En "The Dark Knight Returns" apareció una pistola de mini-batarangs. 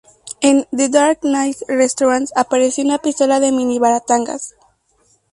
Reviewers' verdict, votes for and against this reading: rejected, 0, 2